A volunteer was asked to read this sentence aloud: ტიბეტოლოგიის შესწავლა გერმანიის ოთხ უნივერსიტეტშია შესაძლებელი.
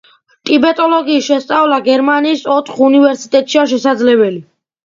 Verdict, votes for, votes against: accepted, 2, 0